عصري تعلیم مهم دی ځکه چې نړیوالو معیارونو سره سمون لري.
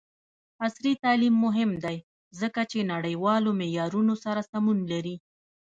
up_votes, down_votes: 1, 2